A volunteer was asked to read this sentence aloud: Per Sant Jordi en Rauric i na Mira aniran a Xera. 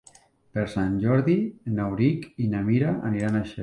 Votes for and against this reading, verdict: 0, 2, rejected